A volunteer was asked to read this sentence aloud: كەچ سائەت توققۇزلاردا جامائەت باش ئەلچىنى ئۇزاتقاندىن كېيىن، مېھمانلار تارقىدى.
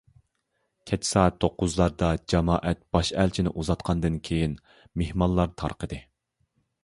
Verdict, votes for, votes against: accepted, 2, 0